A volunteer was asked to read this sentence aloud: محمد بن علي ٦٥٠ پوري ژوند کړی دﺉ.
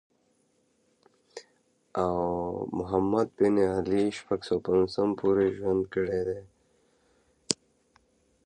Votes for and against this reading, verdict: 0, 2, rejected